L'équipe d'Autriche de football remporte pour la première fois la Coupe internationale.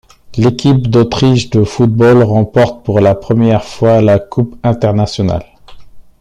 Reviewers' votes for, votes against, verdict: 2, 1, accepted